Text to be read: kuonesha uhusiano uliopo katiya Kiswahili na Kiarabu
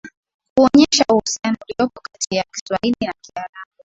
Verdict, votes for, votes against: accepted, 2, 0